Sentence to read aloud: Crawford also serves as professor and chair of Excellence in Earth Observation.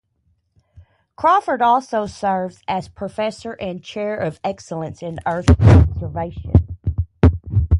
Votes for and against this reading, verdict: 0, 2, rejected